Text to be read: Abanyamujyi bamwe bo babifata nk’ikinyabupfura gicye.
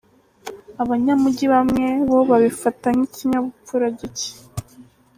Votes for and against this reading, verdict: 2, 0, accepted